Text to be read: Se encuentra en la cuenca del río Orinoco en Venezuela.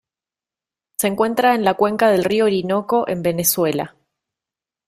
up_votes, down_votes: 2, 0